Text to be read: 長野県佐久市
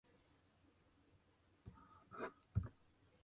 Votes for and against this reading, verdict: 0, 2, rejected